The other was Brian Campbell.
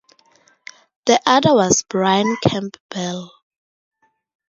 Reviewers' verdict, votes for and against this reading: accepted, 4, 0